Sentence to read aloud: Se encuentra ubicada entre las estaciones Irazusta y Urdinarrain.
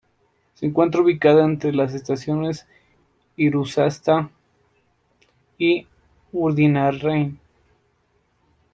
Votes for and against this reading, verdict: 1, 2, rejected